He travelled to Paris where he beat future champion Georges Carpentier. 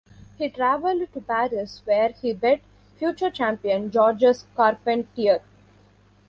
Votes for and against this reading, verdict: 1, 2, rejected